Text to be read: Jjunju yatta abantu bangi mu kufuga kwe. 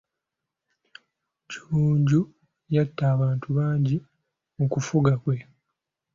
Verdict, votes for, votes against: accepted, 2, 0